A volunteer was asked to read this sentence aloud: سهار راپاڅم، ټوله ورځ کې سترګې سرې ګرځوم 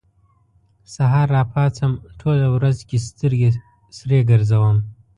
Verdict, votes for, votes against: accepted, 2, 0